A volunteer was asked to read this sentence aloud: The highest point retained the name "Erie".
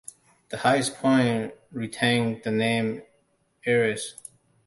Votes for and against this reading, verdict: 0, 2, rejected